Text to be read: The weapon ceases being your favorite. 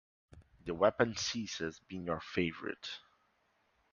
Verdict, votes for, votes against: accepted, 2, 0